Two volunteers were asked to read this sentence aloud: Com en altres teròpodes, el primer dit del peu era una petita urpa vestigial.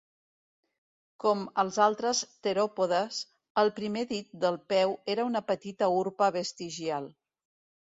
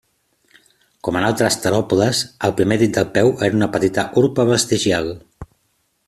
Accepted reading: second